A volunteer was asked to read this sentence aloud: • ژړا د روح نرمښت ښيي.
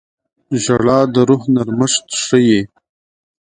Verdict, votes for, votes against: accepted, 2, 0